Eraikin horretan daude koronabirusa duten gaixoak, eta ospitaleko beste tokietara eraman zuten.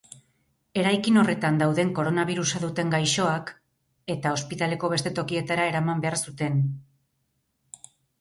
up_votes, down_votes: 2, 4